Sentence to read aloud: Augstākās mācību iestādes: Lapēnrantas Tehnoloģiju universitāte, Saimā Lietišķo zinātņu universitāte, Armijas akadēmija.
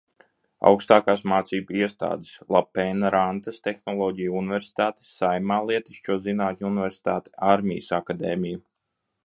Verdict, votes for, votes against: rejected, 1, 2